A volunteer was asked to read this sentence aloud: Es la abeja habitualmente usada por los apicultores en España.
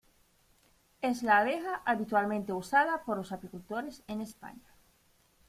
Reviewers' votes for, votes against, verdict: 0, 2, rejected